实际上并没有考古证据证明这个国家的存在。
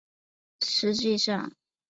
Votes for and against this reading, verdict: 2, 3, rejected